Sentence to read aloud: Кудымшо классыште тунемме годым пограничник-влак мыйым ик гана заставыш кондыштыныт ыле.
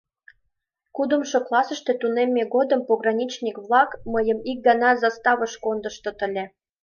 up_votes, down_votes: 3, 4